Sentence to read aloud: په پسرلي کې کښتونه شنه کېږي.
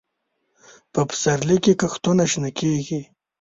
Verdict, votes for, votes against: accepted, 2, 0